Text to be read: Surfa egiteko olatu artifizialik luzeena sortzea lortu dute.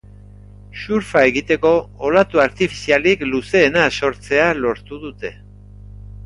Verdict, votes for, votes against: accepted, 4, 0